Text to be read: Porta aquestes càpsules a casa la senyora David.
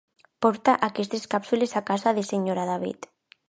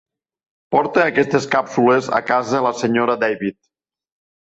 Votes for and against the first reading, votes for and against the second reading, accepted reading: 0, 2, 3, 0, second